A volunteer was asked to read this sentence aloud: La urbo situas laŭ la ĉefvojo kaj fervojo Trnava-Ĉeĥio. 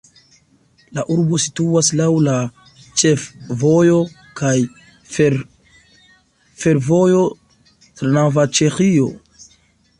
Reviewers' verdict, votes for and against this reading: accepted, 2, 1